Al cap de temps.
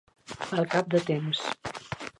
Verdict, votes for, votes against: rejected, 1, 2